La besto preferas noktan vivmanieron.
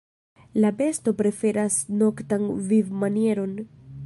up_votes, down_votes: 0, 2